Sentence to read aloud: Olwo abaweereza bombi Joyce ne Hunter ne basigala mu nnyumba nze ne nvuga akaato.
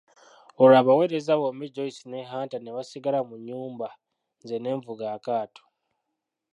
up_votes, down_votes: 2, 1